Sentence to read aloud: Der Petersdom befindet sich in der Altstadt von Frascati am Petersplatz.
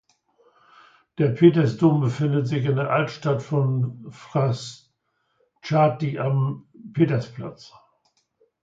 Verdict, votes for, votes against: rejected, 1, 2